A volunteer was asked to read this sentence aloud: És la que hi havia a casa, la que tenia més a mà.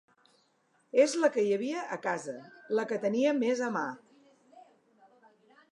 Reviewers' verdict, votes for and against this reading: accepted, 2, 0